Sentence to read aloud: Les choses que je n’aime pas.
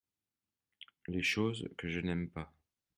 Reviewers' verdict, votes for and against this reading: accepted, 2, 0